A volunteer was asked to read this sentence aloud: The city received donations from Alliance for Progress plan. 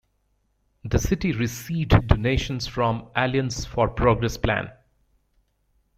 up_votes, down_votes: 1, 2